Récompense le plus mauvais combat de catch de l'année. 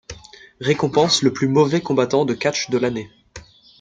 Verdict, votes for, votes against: rejected, 1, 2